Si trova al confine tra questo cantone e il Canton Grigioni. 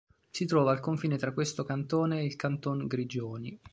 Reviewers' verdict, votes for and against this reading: accepted, 3, 0